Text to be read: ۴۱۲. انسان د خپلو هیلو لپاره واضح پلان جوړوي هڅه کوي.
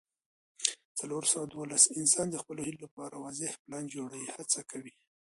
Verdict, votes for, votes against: rejected, 0, 2